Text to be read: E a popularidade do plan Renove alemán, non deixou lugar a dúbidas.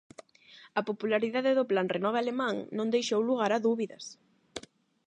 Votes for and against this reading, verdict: 0, 8, rejected